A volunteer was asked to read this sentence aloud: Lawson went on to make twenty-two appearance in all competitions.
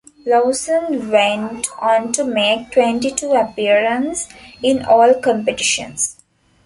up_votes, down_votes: 1, 2